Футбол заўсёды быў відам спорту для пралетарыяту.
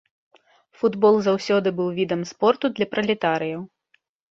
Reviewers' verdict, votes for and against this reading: rejected, 0, 2